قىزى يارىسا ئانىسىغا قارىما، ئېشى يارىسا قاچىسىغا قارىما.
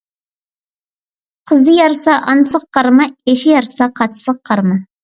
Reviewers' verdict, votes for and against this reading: accepted, 2, 0